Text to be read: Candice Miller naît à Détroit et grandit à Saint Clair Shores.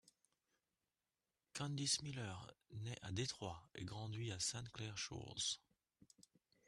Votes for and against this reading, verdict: 1, 2, rejected